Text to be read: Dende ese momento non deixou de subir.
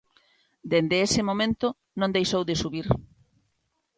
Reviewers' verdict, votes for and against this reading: accepted, 2, 0